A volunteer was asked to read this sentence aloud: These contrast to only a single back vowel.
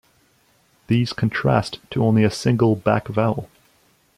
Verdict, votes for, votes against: accepted, 2, 0